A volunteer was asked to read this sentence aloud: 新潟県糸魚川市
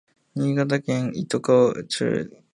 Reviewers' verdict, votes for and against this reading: rejected, 1, 2